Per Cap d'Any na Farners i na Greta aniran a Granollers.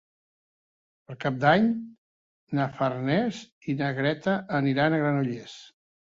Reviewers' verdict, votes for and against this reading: accepted, 2, 0